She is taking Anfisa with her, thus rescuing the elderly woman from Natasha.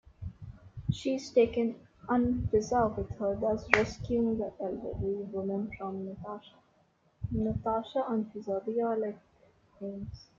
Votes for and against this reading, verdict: 0, 2, rejected